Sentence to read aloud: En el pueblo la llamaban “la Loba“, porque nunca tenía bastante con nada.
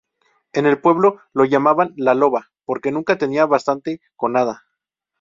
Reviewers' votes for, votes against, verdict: 0, 2, rejected